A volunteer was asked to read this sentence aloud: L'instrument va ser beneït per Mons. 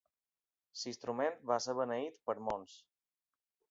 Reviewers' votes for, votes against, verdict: 0, 2, rejected